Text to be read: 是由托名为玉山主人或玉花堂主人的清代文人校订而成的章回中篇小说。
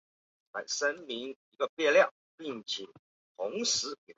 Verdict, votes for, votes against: rejected, 0, 2